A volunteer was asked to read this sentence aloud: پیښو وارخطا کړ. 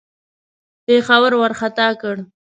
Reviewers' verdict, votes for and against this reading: rejected, 1, 2